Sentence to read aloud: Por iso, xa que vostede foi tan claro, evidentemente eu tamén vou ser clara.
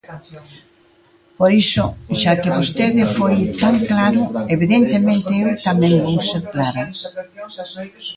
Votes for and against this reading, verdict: 1, 2, rejected